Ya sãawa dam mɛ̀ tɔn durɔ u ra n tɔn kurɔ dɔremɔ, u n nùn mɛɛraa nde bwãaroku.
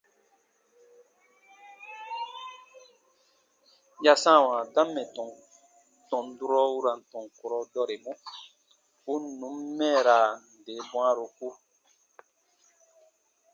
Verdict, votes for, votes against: accepted, 2, 0